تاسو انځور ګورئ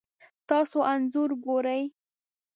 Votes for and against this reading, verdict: 2, 0, accepted